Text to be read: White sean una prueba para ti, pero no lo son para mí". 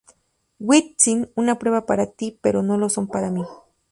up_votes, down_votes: 0, 2